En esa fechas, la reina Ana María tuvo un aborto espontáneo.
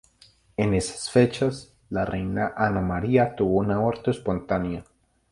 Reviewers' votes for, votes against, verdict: 2, 4, rejected